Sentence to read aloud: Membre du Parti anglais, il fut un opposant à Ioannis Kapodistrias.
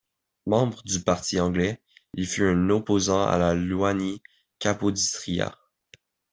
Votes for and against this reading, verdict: 2, 1, accepted